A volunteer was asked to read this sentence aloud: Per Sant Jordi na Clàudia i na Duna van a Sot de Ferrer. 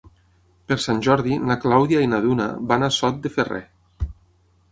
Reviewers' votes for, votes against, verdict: 9, 0, accepted